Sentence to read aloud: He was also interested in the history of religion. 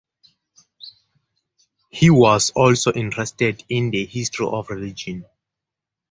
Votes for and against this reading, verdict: 0, 2, rejected